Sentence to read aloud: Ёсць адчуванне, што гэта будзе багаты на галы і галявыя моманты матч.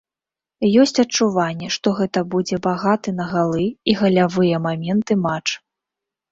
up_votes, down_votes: 0, 2